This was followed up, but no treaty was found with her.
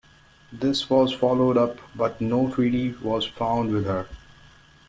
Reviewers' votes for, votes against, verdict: 2, 0, accepted